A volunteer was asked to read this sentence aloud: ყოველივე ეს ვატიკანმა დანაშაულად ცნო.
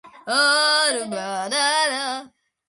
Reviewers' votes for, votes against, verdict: 0, 2, rejected